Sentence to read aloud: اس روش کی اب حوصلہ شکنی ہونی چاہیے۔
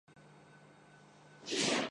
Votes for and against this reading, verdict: 0, 2, rejected